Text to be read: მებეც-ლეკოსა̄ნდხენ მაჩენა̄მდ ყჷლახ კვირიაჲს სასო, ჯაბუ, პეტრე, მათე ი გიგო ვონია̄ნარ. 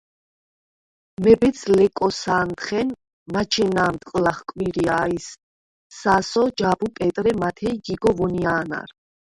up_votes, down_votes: 4, 0